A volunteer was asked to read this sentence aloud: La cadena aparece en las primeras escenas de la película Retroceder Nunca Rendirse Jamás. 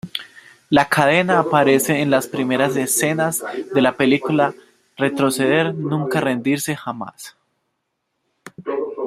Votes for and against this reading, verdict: 0, 2, rejected